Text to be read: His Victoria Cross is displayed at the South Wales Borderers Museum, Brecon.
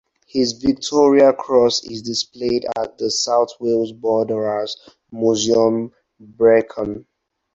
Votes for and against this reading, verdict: 4, 0, accepted